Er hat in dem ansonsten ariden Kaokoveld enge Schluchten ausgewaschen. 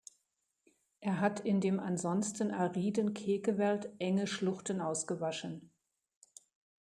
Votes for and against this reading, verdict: 1, 2, rejected